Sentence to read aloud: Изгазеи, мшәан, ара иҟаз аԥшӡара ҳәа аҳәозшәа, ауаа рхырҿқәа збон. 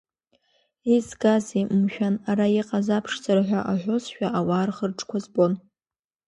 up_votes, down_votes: 2, 0